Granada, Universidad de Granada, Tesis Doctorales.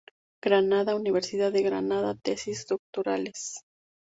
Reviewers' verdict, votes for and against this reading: accepted, 2, 0